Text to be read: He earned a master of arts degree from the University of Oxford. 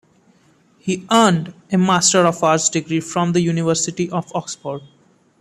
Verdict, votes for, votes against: accepted, 2, 0